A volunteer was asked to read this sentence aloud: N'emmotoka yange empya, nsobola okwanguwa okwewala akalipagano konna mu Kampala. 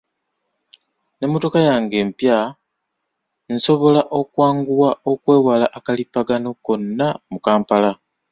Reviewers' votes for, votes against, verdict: 2, 0, accepted